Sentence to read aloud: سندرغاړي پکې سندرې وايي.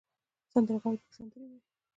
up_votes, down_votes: 0, 2